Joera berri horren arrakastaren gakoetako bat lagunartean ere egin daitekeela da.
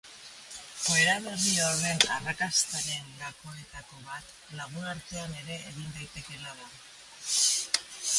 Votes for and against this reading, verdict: 1, 2, rejected